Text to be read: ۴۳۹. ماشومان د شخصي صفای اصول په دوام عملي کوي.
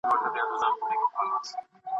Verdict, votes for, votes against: rejected, 0, 2